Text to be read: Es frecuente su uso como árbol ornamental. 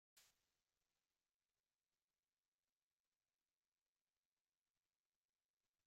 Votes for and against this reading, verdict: 0, 2, rejected